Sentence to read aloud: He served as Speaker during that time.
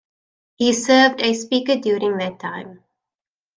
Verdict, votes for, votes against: accepted, 2, 0